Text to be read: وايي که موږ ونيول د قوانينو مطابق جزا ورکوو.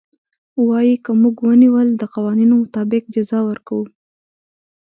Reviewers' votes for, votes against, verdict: 3, 0, accepted